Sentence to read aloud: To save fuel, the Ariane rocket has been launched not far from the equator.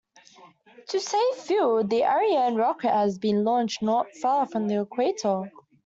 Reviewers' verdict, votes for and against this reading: accepted, 2, 1